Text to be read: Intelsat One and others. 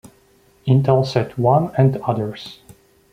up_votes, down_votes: 2, 0